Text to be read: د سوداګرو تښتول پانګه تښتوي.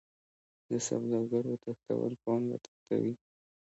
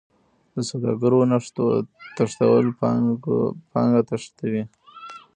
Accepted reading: first